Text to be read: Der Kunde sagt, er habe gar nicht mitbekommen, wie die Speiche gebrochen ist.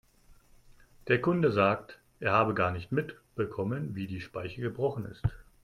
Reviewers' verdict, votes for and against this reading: accepted, 2, 0